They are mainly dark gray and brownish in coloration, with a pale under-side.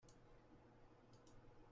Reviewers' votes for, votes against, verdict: 0, 2, rejected